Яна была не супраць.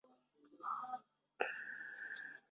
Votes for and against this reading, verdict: 0, 2, rejected